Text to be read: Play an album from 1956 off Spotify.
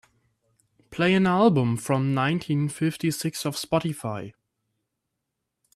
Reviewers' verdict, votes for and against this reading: rejected, 0, 2